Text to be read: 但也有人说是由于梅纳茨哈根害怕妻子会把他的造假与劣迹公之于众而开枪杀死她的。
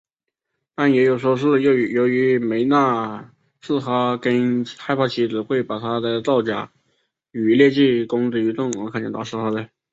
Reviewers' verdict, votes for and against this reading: accepted, 2, 1